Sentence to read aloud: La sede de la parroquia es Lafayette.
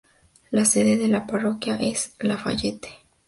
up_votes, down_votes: 2, 0